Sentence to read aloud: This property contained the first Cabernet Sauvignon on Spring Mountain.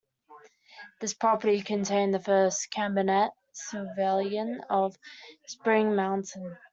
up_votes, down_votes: 0, 2